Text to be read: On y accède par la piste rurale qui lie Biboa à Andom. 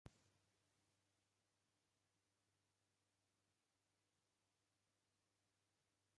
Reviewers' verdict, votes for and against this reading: rejected, 0, 2